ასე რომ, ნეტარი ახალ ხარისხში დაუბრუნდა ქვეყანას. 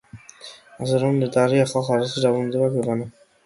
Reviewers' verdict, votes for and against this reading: rejected, 0, 2